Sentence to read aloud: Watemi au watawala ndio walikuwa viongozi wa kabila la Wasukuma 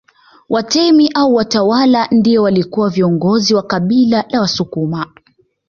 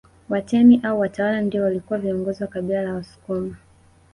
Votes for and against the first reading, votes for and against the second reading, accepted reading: 2, 1, 0, 2, first